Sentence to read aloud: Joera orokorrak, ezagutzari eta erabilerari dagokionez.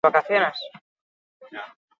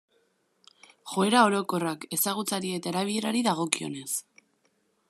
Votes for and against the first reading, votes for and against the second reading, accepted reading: 0, 6, 2, 0, second